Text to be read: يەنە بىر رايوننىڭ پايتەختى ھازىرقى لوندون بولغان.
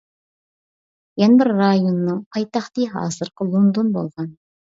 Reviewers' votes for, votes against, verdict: 2, 1, accepted